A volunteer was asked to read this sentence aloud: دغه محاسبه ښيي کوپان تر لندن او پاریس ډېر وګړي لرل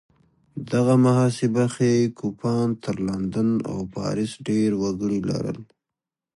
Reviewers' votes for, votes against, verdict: 2, 0, accepted